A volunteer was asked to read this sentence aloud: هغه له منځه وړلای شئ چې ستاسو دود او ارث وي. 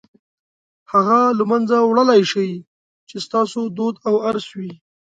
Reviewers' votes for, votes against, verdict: 2, 0, accepted